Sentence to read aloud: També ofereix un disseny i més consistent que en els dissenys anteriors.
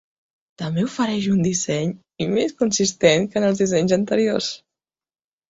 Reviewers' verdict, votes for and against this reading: accepted, 2, 0